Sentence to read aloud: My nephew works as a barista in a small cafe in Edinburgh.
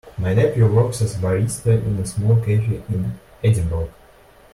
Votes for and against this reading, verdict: 1, 2, rejected